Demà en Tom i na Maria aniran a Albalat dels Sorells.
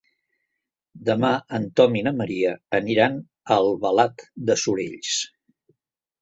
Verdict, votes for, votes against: rejected, 1, 2